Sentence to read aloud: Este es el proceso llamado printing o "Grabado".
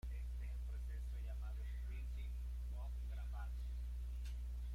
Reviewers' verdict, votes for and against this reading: rejected, 0, 2